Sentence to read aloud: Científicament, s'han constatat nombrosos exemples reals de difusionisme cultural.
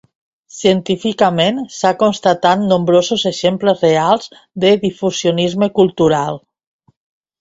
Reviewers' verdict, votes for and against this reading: rejected, 2, 3